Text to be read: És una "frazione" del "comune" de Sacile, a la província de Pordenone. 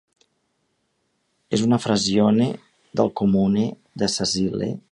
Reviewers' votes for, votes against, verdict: 1, 2, rejected